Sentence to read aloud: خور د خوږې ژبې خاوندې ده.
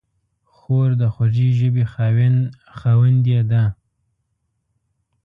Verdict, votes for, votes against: accepted, 2, 0